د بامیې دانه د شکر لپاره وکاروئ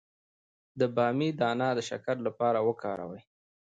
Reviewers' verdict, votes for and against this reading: accepted, 2, 0